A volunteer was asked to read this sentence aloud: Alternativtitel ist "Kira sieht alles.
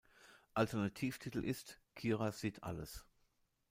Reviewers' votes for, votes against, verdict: 2, 0, accepted